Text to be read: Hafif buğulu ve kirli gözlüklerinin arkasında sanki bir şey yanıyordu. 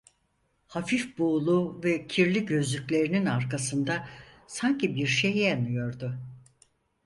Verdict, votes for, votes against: accepted, 4, 0